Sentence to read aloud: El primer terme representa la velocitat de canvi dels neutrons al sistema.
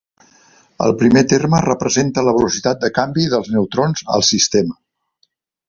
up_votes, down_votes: 2, 0